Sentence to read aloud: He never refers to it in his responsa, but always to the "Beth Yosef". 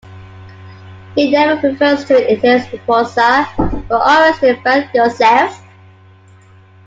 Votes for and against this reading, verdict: 0, 2, rejected